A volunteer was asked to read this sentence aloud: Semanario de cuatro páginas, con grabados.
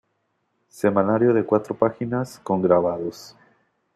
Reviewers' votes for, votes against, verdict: 2, 0, accepted